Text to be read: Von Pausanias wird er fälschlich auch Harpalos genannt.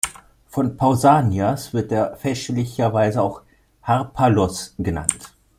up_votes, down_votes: 1, 2